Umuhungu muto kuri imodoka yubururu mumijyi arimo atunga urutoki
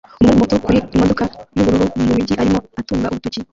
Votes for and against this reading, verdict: 0, 2, rejected